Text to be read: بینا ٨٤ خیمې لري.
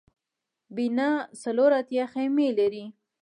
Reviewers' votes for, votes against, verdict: 0, 2, rejected